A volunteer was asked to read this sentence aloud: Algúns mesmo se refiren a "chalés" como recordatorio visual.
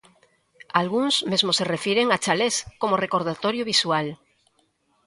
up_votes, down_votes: 2, 0